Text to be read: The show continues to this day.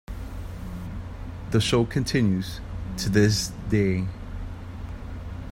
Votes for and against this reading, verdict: 2, 0, accepted